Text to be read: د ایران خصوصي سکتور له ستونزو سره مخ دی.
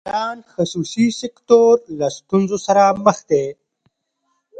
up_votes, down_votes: 0, 2